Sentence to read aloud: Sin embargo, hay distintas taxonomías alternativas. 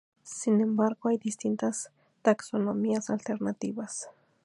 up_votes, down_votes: 2, 0